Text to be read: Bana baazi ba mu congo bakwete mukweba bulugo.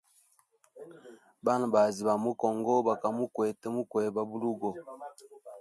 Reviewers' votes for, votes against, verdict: 0, 2, rejected